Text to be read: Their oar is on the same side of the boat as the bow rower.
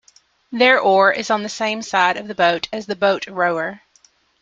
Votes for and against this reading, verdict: 0, 2, rejected